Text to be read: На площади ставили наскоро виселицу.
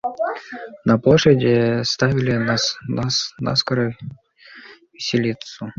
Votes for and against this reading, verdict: 2, 0, accepted